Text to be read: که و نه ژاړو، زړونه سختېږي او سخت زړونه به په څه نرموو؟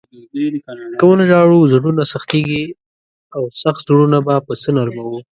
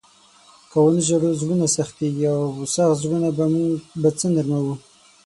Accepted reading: first